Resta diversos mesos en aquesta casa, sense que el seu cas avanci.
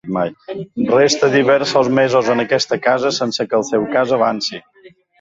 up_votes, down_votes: 0, 2